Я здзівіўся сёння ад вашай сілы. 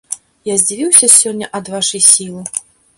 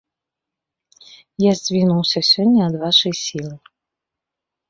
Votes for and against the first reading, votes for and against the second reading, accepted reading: 2, 0, 0, 2, first